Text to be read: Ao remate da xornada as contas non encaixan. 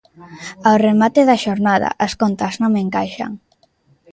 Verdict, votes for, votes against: rejected, 1, 2